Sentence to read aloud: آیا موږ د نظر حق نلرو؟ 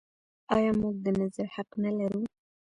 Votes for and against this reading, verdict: 1, 3, rejected